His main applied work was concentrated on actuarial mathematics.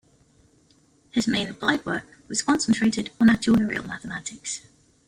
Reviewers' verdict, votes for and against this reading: accepted, 2, 0